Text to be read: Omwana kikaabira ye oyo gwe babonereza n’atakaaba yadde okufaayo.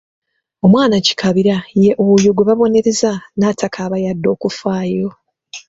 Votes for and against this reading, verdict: 2, 0, accepted